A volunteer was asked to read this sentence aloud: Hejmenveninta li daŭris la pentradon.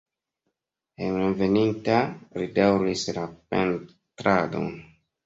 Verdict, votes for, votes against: accepted, 2, 0